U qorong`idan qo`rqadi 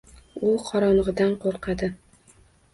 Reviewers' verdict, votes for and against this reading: accepted, 2, 0